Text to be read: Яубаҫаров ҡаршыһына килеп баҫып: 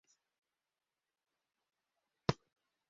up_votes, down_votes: 0, 2